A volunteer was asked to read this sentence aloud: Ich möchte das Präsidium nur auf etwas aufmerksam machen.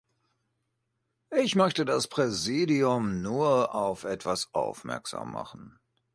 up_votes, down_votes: 2, 0